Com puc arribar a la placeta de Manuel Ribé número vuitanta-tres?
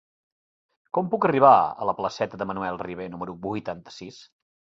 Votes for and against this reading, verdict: 0, 2, rejected